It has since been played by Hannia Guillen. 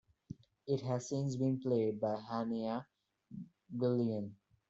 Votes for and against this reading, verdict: 1, 2, rejected